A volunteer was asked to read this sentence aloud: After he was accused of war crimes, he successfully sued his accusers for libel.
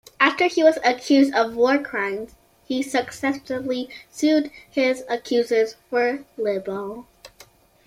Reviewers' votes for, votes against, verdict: 0, 2, rejected